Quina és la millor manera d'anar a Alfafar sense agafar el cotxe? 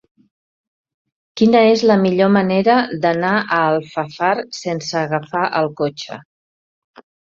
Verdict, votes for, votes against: rejected, 1, 2